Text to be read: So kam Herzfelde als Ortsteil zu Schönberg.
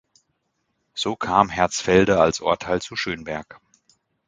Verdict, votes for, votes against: rejected, 0, 2